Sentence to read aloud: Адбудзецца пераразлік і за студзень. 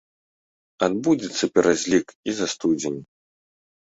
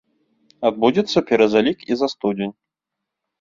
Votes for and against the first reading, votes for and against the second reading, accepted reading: 1, 2, 3, 1, second